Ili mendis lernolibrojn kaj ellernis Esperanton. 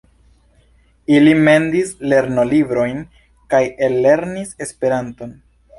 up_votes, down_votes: 2, 0